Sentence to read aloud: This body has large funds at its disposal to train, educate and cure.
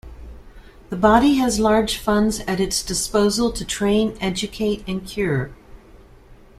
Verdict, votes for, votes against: rejected, 0, 2